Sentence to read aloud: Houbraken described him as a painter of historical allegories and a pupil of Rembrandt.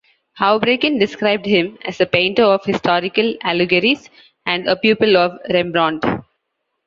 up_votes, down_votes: 2, 0